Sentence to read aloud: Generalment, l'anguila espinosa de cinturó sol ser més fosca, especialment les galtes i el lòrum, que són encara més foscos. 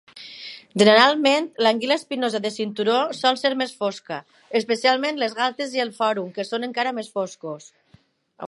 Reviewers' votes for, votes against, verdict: 0, 2, rejected